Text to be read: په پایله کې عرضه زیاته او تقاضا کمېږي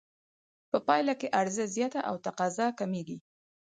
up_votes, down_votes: 4, 0